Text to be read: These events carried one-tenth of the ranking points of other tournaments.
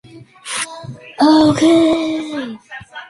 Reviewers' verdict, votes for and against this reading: rejected, 0, 2